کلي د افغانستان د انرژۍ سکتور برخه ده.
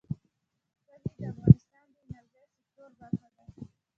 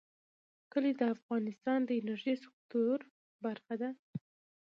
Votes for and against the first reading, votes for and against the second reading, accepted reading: 0, 2, 2, 1, second